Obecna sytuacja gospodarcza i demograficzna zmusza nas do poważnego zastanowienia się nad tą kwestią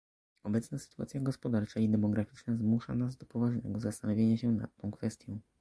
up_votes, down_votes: 1, 2